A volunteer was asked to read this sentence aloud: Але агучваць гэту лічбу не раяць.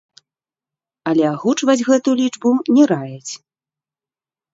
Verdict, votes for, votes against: rejected, 0, 2